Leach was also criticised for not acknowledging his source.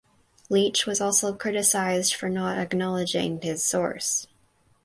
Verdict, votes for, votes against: accepted, 4, 0